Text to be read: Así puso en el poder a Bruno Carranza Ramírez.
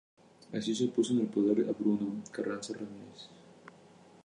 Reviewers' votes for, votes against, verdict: 2, 0, accepted